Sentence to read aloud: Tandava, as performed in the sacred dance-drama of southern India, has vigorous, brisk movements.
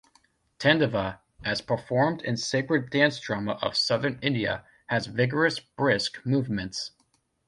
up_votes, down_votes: 0, 2